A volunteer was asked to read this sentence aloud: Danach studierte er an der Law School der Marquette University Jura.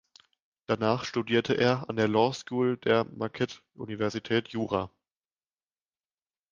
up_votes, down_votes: 0, 3